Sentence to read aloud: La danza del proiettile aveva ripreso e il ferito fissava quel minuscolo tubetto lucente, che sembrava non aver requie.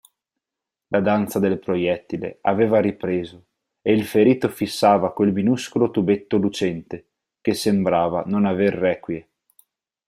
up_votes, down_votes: 4, 0